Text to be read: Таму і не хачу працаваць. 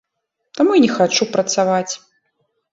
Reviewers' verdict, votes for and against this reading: accepted, 2, 0